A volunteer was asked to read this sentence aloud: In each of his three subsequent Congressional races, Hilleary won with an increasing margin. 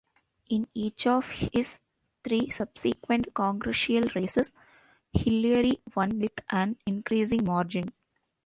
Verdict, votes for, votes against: rejected, 1, 2